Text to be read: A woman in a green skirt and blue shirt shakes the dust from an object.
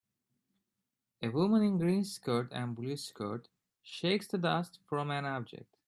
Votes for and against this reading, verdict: 0, 2, rejected